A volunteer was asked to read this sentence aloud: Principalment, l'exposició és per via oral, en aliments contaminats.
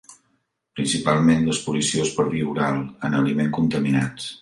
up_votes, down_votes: 0, 2